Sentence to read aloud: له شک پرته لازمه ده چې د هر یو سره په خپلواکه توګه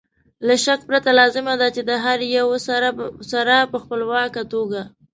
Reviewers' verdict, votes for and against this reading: accepted, 2, 1